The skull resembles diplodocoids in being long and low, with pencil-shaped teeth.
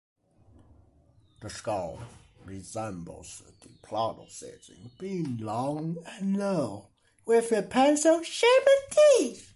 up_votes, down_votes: 0, 2